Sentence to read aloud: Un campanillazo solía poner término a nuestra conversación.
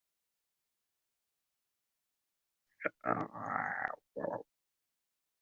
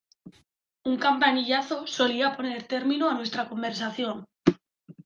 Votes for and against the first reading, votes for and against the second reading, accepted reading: 0, 2, 2, 0, second